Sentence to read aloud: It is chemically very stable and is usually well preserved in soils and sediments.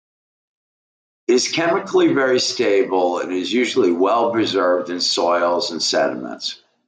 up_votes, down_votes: 2, 1